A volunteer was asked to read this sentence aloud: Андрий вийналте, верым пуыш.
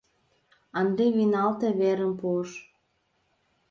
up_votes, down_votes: 1, 2